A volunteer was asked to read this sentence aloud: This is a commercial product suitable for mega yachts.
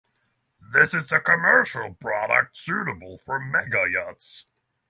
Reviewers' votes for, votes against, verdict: 6, 0, accepted